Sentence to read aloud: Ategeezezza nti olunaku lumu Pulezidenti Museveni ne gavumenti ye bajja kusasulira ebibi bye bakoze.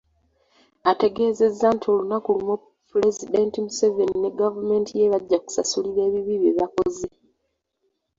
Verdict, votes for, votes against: rejected, 1, 2